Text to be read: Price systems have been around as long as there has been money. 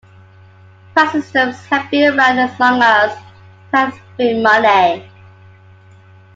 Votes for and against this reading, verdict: 1, 2, rejected